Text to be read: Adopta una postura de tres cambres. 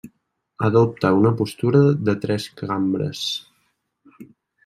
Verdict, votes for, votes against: rejected, 1, 2